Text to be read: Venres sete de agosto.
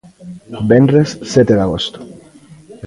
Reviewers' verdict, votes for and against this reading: rejected, 1, 2